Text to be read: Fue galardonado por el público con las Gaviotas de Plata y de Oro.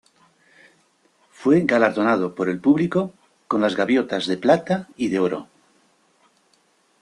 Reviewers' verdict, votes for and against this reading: rejected, 1, 2